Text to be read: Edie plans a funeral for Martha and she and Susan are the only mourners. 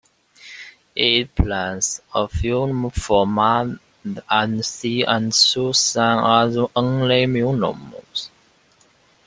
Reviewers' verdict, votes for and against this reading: rejected, 0, 2